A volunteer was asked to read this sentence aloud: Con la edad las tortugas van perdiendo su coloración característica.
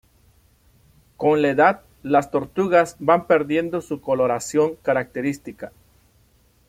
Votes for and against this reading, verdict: 2, 0, accepted